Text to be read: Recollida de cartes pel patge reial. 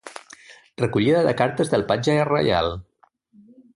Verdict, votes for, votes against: rejected, 1, 2